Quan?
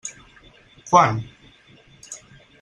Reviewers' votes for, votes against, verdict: 2, 4, rejected